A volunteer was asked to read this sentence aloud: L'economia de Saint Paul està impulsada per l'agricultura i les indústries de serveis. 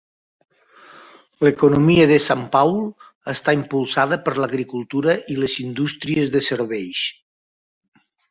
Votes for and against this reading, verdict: 1, 2, rejected